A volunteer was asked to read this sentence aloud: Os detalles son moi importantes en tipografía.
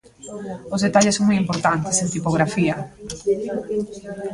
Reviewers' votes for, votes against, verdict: 0, 2, rejected